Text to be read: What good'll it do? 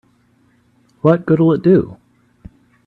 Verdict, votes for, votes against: accepted, 2, 1